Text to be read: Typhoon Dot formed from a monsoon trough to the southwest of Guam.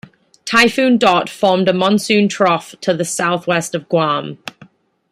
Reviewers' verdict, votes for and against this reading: rejected, 1, 2